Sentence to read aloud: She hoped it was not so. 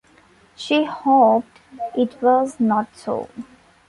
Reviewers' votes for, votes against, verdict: 2, 1, accepted